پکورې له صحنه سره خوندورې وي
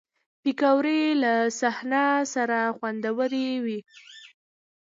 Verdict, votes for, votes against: accepted, 2, 1